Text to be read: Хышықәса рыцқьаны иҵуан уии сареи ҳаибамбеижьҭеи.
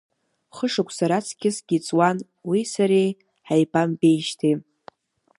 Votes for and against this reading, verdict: 0, 2, rejected